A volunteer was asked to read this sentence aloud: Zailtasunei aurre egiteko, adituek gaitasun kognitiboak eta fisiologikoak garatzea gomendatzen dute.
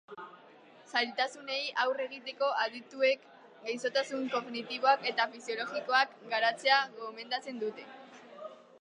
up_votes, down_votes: 1, 2